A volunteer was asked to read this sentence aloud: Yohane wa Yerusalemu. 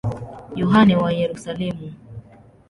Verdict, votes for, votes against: accepted, 2, 0